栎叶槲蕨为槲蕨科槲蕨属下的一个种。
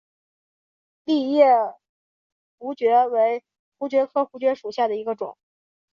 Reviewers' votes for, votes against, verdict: 2, 0, accepted